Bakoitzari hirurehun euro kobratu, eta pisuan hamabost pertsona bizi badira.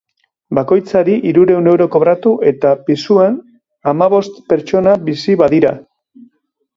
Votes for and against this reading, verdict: 2, 0, accepted